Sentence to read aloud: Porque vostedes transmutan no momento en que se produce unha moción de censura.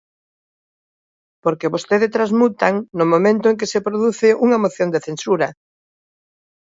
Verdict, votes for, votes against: accepted, 2, 0